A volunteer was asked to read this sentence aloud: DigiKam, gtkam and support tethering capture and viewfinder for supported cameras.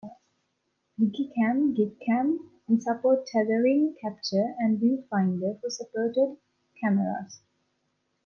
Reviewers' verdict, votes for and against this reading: rejected, 0, 2